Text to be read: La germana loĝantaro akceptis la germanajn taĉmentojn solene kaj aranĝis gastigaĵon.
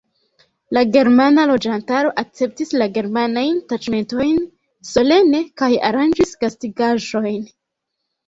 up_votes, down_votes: 0, 2